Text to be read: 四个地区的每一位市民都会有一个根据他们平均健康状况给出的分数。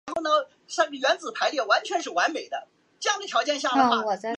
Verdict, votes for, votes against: rejected, 0, 2